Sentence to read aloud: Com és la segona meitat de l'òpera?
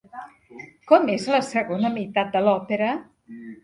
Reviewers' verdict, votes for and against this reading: rejected, 0, 2